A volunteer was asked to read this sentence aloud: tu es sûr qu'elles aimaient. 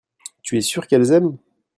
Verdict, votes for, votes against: rejected, 0, 2